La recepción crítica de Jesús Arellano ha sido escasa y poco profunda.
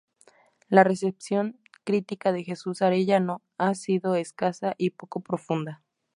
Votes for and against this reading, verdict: 2, 0, accepted